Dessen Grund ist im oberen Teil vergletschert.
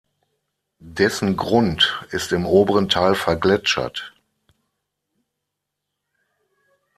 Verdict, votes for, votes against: accepted, 6, 0